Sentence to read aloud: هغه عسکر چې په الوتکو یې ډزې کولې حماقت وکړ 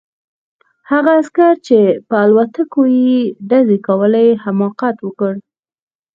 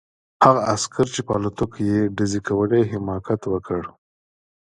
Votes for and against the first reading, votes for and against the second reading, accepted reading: 2, 4, 3, 0, second